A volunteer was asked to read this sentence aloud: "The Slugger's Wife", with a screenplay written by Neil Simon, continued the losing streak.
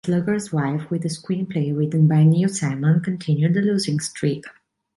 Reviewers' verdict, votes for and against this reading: rejected, 0, 2